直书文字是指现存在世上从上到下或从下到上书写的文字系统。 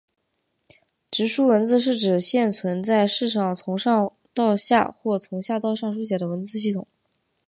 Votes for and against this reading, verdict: 2, 1, accepted